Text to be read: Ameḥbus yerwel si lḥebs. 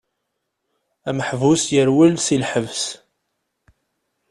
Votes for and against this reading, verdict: 2, 0, accepted